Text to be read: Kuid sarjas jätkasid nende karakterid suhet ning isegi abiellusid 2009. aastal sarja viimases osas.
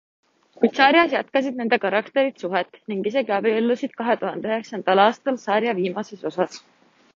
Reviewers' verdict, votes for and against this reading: rejected, 0, 2